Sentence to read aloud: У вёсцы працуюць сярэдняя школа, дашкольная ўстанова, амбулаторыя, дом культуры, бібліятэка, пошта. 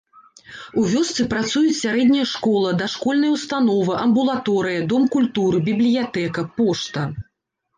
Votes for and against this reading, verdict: 2, 0, accepted